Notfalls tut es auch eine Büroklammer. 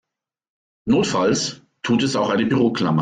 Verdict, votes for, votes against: accepted, 2, 0